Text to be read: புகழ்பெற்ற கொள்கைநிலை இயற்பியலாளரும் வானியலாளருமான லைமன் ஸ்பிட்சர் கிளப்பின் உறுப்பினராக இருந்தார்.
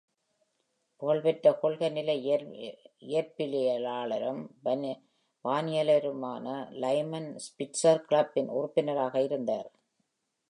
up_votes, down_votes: 0, 2